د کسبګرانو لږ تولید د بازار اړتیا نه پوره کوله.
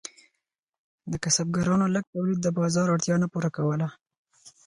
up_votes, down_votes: 4, 0